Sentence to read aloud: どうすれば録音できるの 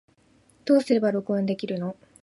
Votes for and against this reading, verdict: 2, 0, accepted